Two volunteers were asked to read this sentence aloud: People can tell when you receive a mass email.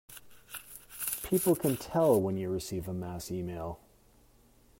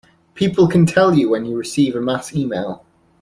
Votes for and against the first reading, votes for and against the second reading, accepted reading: 2, 1, 1, 2, first